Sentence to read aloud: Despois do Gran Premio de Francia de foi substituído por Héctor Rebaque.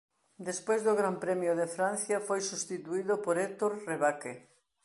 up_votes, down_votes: 0, 2